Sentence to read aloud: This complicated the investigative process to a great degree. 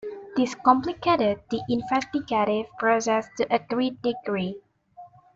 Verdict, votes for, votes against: rejected, 0, 2